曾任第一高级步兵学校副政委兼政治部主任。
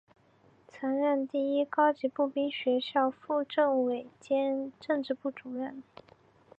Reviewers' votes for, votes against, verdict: 3, 0, accepted